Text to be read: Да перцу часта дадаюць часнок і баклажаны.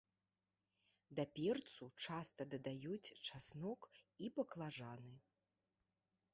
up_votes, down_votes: 2, 0